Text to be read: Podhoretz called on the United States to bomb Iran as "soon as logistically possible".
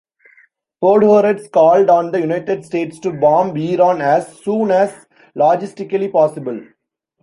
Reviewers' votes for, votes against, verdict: 2, 0, accepted